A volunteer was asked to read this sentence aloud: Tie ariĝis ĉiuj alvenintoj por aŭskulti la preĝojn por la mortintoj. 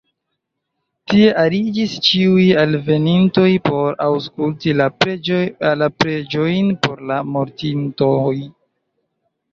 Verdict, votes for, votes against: rejected, 0, 2